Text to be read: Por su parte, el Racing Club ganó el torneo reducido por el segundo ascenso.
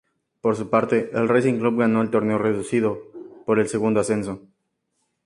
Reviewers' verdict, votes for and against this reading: accepted, 4, 0